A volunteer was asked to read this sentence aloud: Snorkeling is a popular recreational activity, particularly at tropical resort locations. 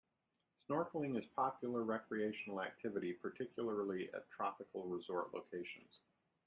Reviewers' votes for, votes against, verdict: 0, 2, rejected